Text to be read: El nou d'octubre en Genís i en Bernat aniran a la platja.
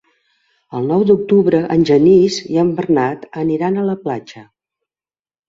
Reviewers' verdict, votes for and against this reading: accepted, 3, 0